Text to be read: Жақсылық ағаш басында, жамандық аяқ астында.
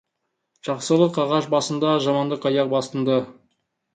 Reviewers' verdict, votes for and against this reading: rejected, 0, 2